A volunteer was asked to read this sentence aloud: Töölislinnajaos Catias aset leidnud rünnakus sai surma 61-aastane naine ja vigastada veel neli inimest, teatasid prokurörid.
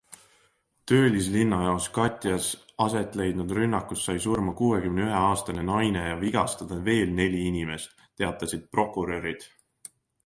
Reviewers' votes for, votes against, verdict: 0, 2, rejected